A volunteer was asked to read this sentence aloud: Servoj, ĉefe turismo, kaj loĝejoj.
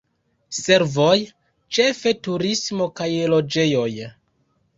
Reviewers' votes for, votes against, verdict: 2, 0, accepted